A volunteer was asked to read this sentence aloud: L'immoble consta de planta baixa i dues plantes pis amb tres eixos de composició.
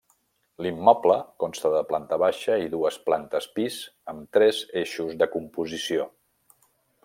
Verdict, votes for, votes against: accepted, 3, 0